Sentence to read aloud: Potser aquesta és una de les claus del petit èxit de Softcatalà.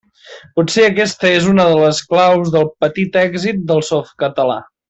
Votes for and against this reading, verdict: 1, 2, rejected